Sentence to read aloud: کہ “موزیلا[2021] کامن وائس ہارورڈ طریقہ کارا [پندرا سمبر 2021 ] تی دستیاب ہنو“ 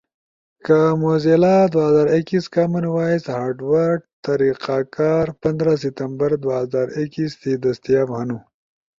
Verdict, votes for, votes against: rejected, 0, 2